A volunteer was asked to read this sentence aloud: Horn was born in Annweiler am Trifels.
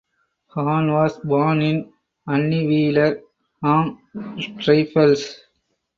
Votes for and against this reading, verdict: 0, 4, rejected